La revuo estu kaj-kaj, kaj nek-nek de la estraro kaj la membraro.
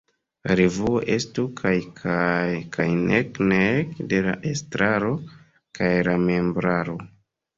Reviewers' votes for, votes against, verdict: 2, 1, accepted